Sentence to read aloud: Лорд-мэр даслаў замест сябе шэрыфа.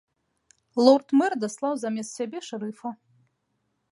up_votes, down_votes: 2, 0